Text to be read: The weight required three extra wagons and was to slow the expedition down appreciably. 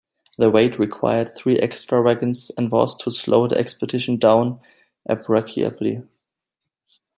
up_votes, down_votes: 1, 2